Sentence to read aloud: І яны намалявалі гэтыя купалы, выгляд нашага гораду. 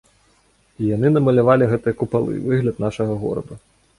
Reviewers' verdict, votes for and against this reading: accepted, 2, 1